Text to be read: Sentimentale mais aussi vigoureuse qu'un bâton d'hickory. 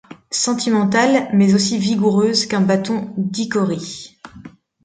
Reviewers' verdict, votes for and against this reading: accepted, 2, 1